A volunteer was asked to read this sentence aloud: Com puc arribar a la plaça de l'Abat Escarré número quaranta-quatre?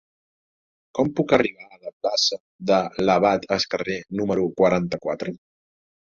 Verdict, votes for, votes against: rejected, 0, 2